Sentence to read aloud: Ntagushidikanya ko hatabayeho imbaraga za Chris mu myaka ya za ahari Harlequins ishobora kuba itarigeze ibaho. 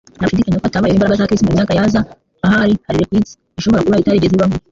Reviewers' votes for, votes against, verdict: 1, 2, rejected